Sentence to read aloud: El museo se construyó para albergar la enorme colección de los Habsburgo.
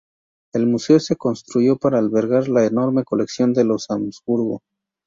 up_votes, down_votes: 0, 2